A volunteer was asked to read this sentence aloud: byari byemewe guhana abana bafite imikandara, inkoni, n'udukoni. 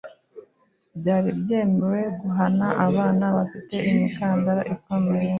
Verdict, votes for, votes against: rejected, 1, 2